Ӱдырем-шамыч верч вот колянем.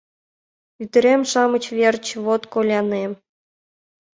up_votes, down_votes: 2, 0